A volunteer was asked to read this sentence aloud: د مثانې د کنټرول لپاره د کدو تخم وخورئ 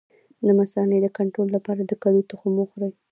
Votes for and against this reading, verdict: 2, 0, accepted